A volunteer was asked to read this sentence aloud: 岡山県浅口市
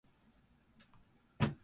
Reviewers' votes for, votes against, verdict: 1, 4, rejected